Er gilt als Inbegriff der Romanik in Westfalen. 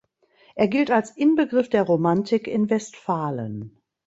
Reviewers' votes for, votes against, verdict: 1, 2, rejected